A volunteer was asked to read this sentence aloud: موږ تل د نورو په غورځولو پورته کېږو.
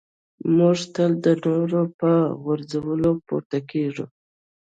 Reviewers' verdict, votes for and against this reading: rejected, 1, 2